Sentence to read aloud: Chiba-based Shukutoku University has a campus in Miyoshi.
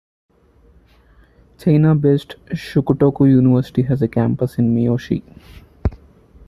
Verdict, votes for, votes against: accepted, 2, 1